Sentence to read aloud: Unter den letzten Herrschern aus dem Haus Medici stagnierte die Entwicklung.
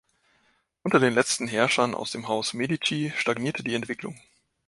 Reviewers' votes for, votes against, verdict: 2, 0, accepted